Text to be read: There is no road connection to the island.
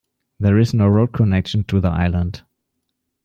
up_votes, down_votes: 2, 0